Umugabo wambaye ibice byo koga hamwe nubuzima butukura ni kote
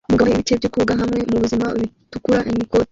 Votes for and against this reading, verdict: 0, 2, rejected